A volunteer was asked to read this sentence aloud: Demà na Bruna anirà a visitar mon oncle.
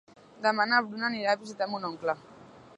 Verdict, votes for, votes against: accepted, 2, 0